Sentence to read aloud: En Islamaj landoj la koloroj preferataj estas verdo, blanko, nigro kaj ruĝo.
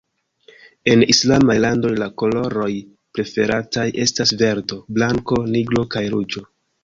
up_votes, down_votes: 1, 2